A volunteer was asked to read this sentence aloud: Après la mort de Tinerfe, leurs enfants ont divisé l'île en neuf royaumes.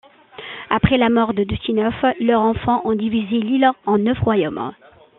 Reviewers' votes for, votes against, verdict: 2, 1, accepted